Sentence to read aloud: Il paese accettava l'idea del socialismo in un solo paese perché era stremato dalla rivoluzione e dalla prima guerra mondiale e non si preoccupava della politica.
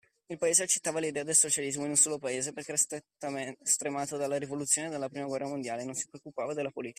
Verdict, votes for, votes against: rejected, 1, 2